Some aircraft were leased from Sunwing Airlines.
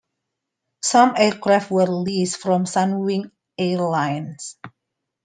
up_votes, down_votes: 2, 1